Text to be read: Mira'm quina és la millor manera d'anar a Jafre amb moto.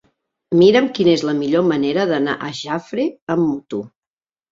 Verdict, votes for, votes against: accepted, 2, 0